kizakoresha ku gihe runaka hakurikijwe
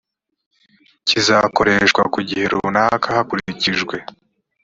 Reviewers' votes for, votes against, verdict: 2, 0, accepted